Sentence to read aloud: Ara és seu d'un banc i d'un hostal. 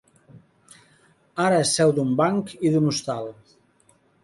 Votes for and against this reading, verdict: 2, 0, accepted